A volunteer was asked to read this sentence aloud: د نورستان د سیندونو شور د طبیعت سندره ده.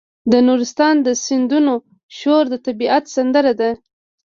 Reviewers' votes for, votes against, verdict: 1, 2, rejected